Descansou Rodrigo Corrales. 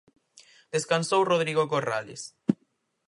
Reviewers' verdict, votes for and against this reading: accepted, 4, 0